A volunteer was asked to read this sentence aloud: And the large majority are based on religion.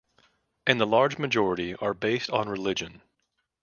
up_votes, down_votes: 2, 0